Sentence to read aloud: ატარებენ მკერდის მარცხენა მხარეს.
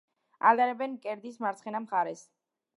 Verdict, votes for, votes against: accepted, 2, 0